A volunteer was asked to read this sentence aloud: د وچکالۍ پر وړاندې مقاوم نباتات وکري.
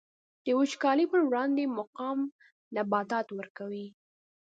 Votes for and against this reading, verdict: 1, 2, rejected